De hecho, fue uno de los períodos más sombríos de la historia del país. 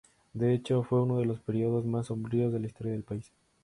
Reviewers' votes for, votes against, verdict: 2, 0, accepted